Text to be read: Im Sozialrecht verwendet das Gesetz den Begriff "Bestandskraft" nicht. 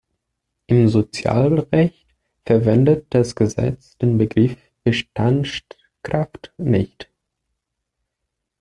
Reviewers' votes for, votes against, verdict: 1, 2, rejected